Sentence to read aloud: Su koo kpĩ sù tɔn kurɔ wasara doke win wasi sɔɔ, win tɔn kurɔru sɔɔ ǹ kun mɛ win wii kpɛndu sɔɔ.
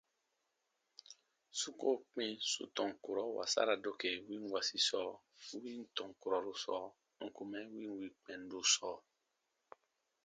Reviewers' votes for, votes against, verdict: 2, 0, accepted